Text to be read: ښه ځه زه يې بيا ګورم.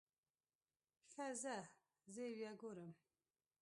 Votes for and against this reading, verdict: 1, 2, rejected